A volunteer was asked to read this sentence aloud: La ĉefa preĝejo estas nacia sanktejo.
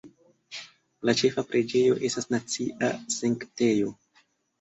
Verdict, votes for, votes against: accepted, 2, 1